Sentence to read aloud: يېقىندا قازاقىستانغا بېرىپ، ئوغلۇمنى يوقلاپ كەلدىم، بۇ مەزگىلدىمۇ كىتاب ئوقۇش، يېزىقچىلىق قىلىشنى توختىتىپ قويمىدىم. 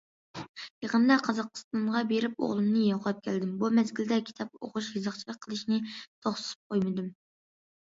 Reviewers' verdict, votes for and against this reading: rejected, 0, 2